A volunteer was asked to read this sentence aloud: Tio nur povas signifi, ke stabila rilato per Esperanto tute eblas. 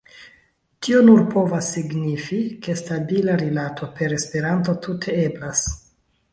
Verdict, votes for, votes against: accepted, 2, 0